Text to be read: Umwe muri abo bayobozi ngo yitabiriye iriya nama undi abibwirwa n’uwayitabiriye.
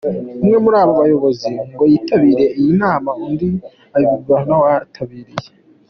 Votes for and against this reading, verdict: 2, 0, accepted